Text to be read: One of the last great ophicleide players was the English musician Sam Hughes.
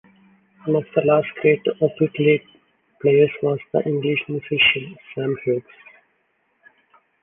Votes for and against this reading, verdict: 1, 2, rejected